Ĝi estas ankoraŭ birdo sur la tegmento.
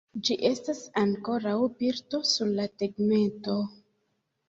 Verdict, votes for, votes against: accepted, 2, 0